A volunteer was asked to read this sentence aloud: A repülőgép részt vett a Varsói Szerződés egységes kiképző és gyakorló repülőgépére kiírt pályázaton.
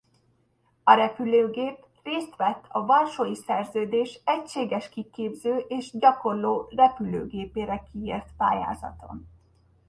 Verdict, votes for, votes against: accepted, 2, 0